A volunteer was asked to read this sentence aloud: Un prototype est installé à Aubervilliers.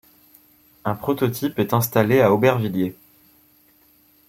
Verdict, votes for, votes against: rejected, 0, 2